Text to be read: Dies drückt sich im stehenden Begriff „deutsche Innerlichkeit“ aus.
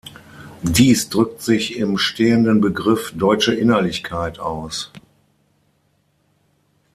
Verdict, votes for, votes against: accepted, 6, 0